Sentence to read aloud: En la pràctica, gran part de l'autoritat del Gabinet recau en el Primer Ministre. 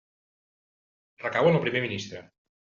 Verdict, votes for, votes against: rejected, 0, 2